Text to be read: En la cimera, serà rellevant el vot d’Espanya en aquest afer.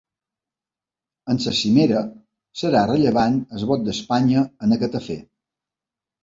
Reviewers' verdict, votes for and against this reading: rejected, 1, 3